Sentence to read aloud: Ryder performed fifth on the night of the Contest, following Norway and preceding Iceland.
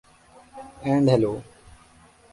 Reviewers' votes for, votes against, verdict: 0, 2, rejected